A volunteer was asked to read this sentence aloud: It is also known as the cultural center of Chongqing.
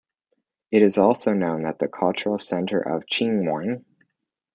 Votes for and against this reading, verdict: 2, 0, accepted